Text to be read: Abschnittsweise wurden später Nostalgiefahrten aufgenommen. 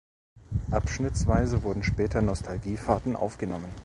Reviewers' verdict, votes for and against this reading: rejected, 1, 2